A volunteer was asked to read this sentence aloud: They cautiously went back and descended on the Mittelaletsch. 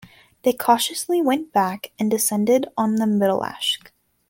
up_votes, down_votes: 0, 2